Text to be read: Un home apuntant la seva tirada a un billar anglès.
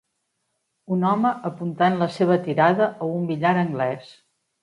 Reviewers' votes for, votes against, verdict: 3, 0, accepted